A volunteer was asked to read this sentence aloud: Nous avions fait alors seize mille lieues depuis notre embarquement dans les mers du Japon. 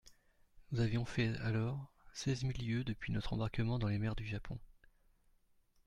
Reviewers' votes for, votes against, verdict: 2, 1, accepted